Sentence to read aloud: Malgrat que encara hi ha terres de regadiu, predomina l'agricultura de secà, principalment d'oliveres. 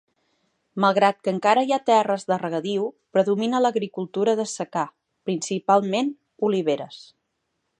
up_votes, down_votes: 0, 2